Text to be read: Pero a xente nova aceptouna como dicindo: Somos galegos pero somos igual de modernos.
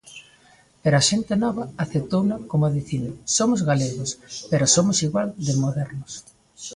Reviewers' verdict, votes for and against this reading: accepted, 2, 0